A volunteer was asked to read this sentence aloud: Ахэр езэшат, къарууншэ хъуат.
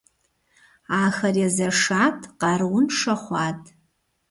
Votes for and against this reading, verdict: 2, 0, accepted